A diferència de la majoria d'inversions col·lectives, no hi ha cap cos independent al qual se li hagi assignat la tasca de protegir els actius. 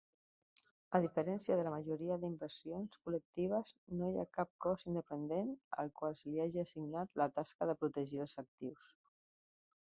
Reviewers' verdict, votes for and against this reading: accepted, 2, 1